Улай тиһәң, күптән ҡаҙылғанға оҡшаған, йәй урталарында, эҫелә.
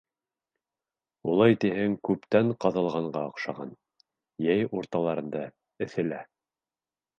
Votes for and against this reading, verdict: 2, 0, accepted